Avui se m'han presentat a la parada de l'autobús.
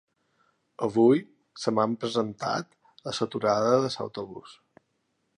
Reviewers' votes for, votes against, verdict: 0, 2, rejected